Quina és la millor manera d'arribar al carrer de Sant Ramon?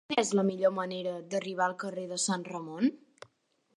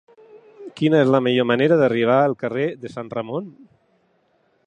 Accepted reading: second